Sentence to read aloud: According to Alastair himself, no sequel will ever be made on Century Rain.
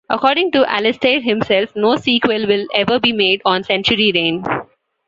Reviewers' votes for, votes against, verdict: 2, 0, accepted